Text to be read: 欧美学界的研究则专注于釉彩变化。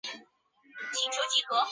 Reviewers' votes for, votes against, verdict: 0, 4, rejected